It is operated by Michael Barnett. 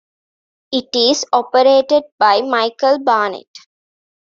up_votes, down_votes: 2, 0